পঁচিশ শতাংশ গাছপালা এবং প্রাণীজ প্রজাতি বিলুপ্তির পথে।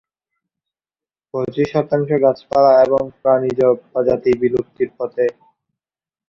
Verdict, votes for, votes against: rejected, 0, 2